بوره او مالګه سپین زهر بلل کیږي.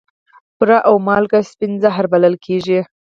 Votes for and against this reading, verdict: 0, 4, rejected